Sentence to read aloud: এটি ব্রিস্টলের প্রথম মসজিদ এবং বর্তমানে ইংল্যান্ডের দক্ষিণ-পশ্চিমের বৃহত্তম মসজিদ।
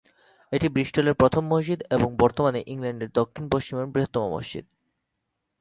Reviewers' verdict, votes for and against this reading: accepted, 2, 0